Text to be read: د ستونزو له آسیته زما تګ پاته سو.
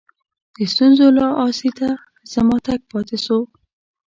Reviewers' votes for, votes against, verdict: 2, 0, accepted